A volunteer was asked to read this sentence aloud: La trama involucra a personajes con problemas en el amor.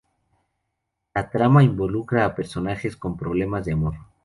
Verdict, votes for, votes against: rejected, 0, 2